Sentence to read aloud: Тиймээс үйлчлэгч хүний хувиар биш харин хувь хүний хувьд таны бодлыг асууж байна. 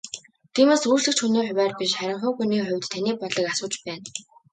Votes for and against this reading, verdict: 2, 0, accepted